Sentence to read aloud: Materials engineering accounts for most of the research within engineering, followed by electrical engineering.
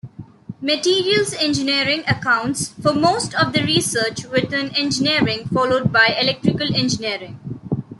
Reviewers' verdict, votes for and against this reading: accepted, 2, 0